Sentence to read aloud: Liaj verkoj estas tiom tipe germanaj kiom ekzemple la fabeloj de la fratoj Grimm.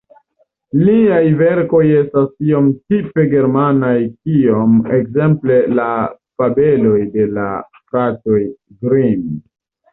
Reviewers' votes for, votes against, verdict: 1, 2, rejected